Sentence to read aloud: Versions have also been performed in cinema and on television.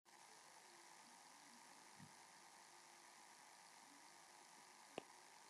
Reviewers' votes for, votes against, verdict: 0, 2, rejected